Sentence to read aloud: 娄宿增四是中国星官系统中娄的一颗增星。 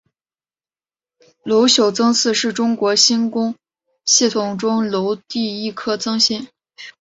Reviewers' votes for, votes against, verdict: 1, 2, rejected